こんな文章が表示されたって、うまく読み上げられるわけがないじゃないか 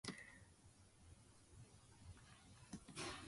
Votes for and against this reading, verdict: 0, 2, rejected